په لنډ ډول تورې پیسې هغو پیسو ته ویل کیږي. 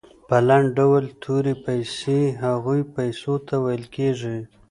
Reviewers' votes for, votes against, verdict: 1, 2, rejected